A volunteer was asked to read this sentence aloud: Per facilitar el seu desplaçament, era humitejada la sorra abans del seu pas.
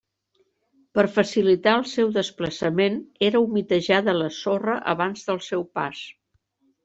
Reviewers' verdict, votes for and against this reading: accepted, 3, 0